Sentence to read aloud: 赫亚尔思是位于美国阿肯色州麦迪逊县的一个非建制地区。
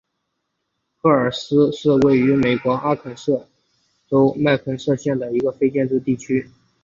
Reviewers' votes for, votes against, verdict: 2, 0, accepted